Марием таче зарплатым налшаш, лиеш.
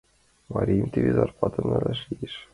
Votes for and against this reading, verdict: 0, 2, rejected